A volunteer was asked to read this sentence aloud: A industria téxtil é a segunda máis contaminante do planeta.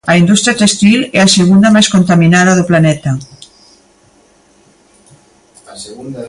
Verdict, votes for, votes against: rejected, 0, 5